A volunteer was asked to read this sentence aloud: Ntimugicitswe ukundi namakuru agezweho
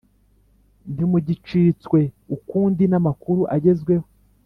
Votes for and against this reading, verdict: 3, 0, accepted